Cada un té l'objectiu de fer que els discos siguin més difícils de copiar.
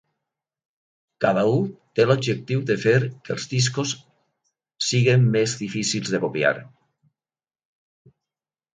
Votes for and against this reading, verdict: 2, 0, accepted